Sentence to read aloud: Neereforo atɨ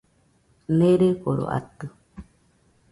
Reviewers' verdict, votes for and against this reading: accepted, 2, 0